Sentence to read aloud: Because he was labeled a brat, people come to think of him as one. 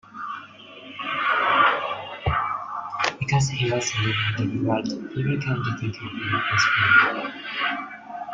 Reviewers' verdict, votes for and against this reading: rejected, 0, 2